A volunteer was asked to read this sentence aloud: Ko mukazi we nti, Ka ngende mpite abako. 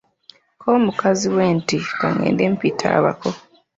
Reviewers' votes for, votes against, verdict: 2, 0, accepted